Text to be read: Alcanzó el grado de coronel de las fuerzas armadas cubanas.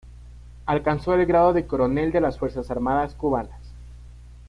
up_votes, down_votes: 2, 0